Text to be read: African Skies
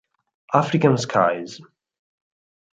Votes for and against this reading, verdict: 2, 0, accepted